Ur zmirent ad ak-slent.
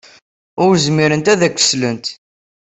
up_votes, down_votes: 4, 1